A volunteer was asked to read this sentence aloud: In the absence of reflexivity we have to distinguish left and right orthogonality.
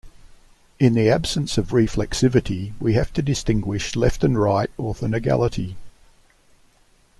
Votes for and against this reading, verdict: 0, 2, rejected